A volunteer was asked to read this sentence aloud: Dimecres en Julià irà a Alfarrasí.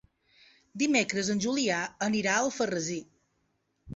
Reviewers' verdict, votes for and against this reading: rejected, 0, 2